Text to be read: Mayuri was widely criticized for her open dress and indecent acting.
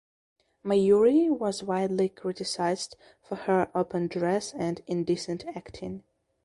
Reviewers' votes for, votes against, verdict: 2, 0, accepted